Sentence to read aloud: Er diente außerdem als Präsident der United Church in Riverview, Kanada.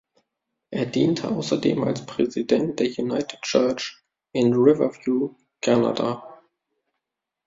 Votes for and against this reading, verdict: 1, 2, rejected